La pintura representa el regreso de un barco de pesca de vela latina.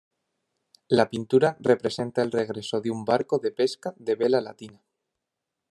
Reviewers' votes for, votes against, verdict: 3, 0, accepted